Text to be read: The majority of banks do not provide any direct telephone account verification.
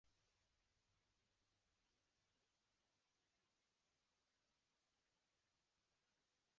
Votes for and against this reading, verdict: 0, 2, rejected